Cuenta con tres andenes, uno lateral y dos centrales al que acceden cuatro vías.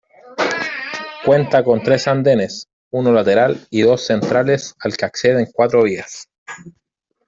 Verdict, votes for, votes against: rejected, 1, 2